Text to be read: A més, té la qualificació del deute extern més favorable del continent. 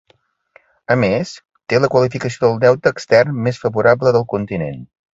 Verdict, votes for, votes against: accepted, 2, 0